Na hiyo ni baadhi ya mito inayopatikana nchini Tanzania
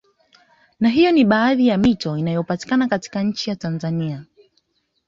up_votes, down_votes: 3, 1